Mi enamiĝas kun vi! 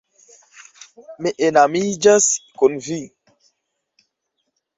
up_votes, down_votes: 3, 1